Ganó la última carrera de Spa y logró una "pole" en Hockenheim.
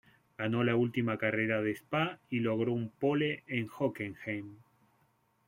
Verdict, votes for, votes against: rejected, 1, 2